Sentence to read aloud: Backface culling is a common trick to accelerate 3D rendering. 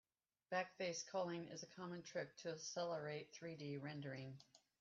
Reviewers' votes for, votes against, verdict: 0, 2, rejected